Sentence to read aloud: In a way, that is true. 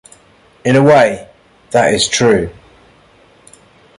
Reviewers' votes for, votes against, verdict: 2, 0, accepted